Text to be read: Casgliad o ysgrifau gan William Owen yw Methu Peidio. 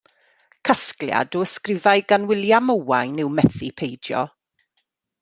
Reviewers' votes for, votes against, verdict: 2, 0, accepted